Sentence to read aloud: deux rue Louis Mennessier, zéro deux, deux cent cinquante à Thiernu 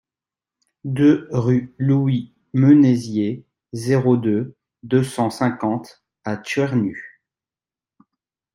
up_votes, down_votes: 1, 2